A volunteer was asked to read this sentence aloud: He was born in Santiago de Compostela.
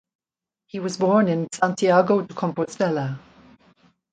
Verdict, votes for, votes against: accepted, 2, 0